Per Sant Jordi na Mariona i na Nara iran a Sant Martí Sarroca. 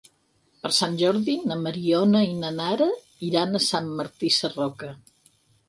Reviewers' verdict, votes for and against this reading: accepted, 6, 0